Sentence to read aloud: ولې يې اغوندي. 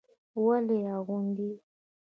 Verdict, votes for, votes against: rejected, 1, 2